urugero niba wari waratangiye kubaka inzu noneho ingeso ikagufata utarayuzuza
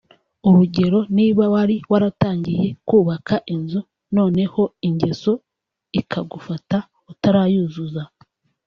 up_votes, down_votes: 1, 2